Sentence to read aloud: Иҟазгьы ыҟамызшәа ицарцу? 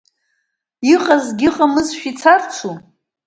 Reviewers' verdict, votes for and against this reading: accepted, 2, 0